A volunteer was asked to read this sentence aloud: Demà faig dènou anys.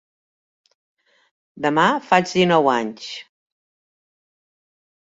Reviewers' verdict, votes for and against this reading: rejected, 1, 2